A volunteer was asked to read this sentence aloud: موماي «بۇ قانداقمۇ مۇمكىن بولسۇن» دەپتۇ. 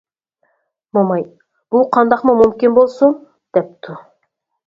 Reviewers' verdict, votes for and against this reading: accepted, 4, 0